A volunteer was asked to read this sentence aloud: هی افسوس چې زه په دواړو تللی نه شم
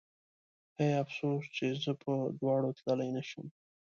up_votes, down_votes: 2, 0